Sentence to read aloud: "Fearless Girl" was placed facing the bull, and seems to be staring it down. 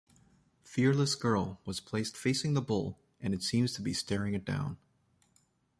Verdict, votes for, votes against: rejected, 1, 2